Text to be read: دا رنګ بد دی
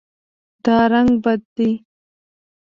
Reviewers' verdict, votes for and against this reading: accepted, 2, 0